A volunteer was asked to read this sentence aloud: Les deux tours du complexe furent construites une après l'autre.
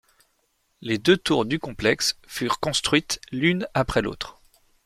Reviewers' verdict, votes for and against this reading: rejected, 1, 2